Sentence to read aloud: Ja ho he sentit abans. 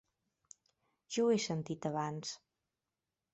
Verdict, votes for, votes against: rejected, 1, 2